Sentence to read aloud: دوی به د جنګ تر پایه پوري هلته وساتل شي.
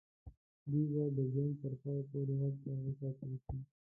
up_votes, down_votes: 2, 1